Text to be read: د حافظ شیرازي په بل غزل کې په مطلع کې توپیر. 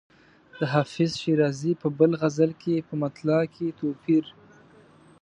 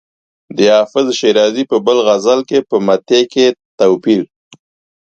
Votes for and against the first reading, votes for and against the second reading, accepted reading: 2, 0, 1, 2, first